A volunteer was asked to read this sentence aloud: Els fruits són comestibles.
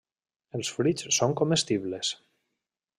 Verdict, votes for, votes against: accepted, 3, 0